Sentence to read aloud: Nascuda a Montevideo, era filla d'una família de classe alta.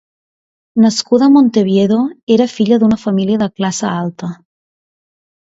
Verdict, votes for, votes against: rejected, 0, 2